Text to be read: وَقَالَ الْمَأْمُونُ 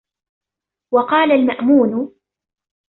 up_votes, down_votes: 2, 1